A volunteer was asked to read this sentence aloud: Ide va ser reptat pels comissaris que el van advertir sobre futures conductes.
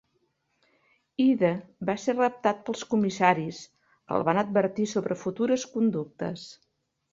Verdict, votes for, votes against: accepted, 2, 0